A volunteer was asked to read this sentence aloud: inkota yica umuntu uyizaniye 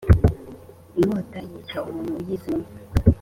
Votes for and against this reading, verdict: 2, 0, accepted